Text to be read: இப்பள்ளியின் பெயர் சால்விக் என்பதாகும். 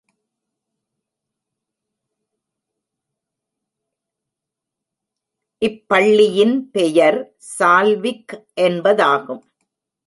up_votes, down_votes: 1, 2